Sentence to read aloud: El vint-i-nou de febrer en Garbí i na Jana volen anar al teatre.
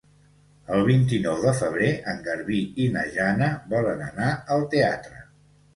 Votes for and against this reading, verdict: 2, 0, accepted